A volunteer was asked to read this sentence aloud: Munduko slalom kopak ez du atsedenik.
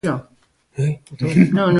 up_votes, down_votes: 0, 2